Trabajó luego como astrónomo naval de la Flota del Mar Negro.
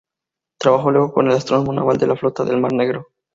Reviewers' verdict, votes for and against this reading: rejected, 0, 4